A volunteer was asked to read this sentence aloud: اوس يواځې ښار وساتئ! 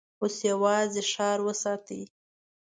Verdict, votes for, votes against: accepted, 2, 0